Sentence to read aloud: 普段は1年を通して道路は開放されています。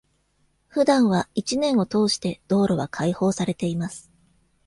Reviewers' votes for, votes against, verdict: 0, 2, rejected